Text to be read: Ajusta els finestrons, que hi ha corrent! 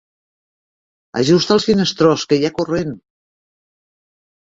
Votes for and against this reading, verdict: 1, 2, rejected